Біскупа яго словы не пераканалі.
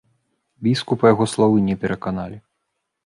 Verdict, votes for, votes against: accepted, 2, 0